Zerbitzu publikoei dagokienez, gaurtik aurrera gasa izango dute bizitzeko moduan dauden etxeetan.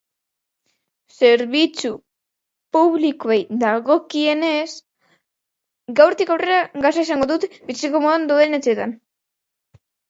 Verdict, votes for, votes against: rejected, 0, 2